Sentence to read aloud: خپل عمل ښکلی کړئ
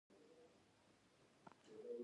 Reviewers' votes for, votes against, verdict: 1, 2, rejected